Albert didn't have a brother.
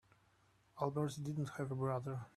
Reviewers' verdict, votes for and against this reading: rejected, 1, 2